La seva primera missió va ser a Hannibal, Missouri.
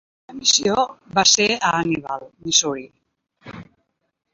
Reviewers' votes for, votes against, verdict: 0, 2, rejected